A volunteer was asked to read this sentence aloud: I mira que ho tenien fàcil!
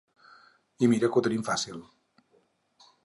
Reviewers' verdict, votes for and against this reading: rejected, 0, 4